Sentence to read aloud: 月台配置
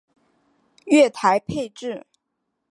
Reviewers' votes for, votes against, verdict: 4, 0, accepted